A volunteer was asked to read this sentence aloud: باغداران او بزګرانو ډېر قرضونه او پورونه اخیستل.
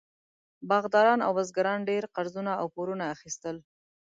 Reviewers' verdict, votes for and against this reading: accepted, 2, 0